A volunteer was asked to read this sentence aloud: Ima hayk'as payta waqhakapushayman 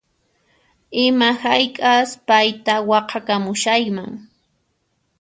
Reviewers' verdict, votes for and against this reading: rejected, 1, 2